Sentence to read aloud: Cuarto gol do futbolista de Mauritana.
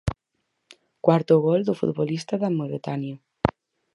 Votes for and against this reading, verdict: 0, 4, rejected